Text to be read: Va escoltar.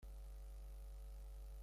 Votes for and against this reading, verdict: 0, 2, rejected